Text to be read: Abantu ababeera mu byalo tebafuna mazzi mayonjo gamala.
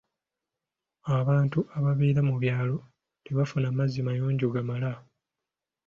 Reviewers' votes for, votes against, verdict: 2, 0, accepted